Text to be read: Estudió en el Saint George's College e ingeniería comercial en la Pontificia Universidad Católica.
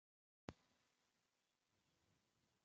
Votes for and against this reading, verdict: 0, 2, rejected